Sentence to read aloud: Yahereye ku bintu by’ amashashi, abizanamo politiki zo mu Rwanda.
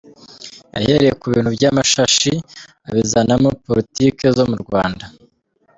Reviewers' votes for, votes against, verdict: 0, 2, rejected